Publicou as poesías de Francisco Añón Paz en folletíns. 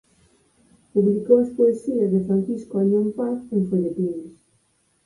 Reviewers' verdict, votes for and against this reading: rejected, 2, 4